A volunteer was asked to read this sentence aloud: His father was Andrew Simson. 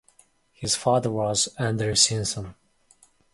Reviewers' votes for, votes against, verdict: 2, 0, accepted